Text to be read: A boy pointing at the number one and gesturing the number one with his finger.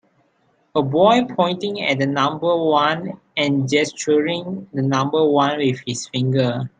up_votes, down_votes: 3, 0